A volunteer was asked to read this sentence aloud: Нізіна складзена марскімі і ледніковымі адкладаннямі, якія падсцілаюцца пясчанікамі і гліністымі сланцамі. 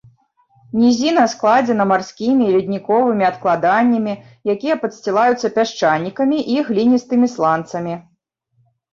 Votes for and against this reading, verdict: 2, 0, accepted